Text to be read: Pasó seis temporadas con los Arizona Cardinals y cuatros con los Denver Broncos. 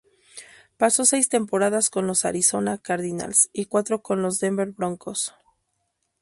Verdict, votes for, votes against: accepted, 10, 0